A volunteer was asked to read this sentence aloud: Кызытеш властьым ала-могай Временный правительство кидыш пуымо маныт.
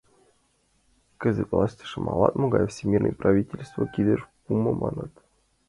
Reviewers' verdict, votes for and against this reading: accepted, 2, 0